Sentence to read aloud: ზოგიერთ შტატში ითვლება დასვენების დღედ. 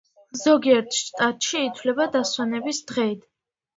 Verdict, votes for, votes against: accepted, 2, 1